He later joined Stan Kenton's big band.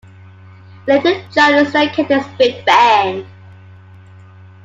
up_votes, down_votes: 1, 2